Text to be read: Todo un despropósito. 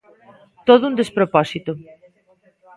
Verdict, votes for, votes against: accepted, 2, 1